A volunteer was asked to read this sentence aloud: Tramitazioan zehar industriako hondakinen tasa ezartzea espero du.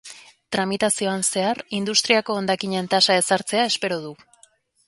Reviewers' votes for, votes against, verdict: 4, 0, accepted